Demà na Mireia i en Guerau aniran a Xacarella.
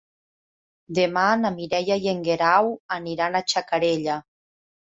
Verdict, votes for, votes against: accepted, 3, 0